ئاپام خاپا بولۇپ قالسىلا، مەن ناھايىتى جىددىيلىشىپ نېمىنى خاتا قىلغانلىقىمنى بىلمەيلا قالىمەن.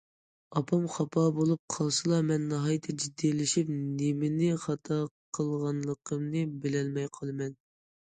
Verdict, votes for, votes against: rejected, 0, 2